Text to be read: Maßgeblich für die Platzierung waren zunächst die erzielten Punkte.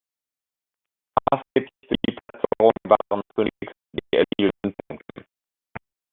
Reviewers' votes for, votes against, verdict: 0, 2, rejected